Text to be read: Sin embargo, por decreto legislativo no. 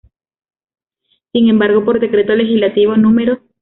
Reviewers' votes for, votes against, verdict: 1, 2, rejected